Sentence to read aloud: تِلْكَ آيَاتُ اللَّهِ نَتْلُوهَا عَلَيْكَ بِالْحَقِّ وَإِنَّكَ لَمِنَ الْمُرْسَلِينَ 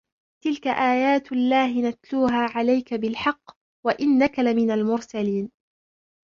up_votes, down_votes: 1, 2